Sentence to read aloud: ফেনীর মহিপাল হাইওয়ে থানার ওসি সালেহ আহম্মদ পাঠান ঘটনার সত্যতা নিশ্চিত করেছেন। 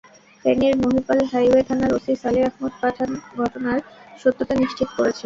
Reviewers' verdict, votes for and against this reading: rejected, 0, 2